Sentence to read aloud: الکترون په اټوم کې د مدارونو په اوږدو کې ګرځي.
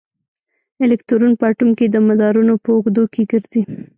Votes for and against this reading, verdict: 0, 2, rejected